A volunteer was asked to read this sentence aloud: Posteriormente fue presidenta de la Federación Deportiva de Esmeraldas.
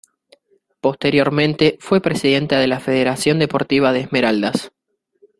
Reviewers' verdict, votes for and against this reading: accepted, 2, 1